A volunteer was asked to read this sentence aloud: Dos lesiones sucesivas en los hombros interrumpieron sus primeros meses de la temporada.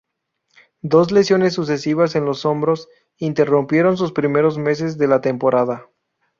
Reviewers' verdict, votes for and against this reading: accepted, 2, 0